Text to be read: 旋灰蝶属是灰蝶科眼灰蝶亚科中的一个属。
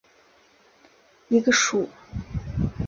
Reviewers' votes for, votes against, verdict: 1, 2, rejected